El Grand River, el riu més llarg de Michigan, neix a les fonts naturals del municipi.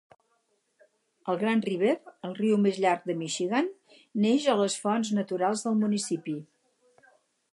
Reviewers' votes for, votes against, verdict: 2, 0, accepted